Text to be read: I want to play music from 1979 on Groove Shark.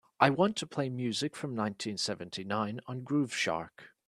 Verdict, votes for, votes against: rejected, 0, 2